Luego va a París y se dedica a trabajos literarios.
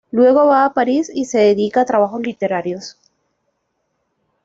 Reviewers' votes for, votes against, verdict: 2, 1, accepted